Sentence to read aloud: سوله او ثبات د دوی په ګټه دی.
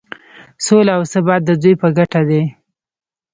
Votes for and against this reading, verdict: 0, 2, rejected